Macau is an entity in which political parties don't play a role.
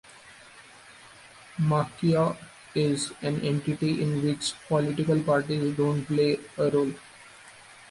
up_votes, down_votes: 0, 2